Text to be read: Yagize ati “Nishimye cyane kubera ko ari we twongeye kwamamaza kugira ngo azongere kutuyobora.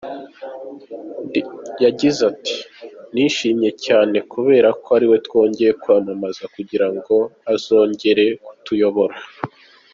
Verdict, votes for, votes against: rejected, 1, 2